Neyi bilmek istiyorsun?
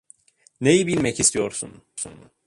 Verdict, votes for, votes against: rejected, 0, 2